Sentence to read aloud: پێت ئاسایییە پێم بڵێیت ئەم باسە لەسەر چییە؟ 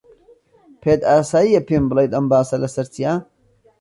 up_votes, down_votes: 2, 0